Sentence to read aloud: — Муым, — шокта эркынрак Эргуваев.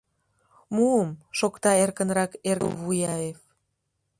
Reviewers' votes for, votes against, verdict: 1, 2, rejected